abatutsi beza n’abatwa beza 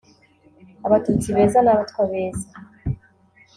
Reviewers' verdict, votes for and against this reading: rejected, 0, 2